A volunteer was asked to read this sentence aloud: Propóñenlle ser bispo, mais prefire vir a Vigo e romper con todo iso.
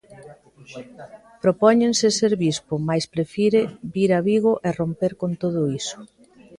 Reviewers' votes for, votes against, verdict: 1, 2, rejected